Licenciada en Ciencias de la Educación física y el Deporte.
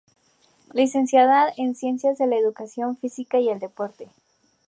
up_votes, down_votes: 2, 0